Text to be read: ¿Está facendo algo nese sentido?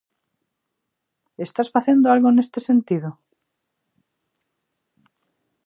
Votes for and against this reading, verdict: 0, 2, rejected